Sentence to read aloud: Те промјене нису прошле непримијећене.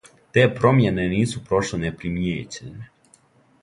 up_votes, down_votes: 2, 0